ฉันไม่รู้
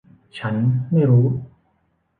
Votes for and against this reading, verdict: 2, 0, accepted